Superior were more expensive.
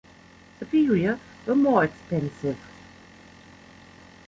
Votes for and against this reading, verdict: 1, 2, rejected